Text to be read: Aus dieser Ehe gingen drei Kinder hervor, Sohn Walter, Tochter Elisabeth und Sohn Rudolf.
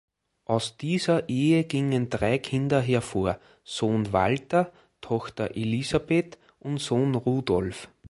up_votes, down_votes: 2, 0